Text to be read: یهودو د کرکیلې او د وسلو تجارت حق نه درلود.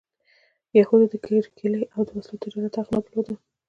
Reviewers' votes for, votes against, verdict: 2, 0, accepted